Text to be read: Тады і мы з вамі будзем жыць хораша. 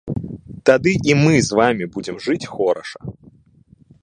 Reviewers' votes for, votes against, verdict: 2, 0, accepted